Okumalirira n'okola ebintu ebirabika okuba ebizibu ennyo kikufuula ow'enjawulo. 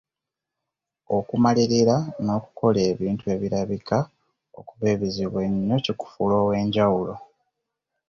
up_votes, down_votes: 1, 2